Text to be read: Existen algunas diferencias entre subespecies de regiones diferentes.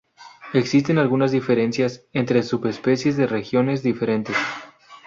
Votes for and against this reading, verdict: 2, 2, rejected